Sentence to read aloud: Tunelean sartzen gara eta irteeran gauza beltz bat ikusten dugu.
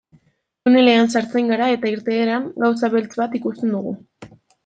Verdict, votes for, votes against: rejected, 0, 2